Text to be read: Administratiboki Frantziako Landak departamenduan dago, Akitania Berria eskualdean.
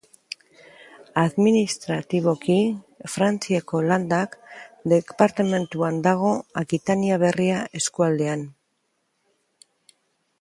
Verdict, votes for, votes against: accepted, 2, 0